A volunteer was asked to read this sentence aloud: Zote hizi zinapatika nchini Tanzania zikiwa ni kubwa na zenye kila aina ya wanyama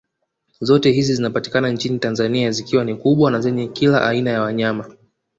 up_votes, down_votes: 1, 2